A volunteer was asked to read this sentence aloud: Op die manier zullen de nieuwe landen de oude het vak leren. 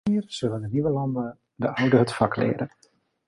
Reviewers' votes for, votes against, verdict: 0, 2, rejected